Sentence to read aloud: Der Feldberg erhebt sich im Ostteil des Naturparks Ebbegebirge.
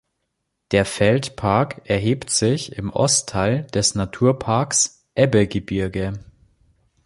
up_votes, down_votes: 1, 2